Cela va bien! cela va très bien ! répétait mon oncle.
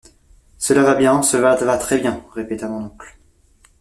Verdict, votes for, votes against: rejected, 1, 2